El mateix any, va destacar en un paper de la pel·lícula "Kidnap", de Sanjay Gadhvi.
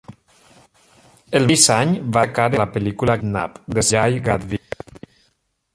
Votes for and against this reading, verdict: 0, 2, rejected